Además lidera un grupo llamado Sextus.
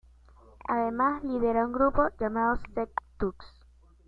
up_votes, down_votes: 0, 2